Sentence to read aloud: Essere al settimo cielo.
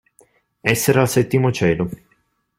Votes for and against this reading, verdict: 2, 0, accepted